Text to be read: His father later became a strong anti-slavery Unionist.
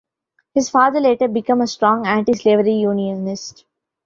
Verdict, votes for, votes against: rejected, 1, 2